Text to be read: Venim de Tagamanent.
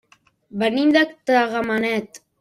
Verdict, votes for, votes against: rejected, 0, 2